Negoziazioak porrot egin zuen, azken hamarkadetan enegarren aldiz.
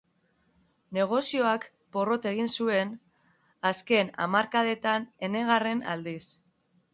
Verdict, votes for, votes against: rejected, 0, 2